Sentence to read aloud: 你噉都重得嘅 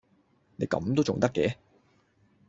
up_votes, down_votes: 2, 0